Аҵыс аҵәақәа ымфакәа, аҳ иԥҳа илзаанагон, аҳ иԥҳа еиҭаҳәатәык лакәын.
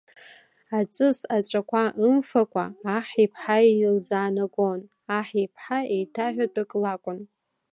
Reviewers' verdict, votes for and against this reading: accepted, 2, 0